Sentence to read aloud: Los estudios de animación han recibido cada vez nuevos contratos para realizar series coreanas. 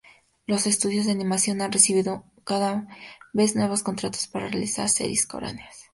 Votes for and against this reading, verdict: 0, 2, rejected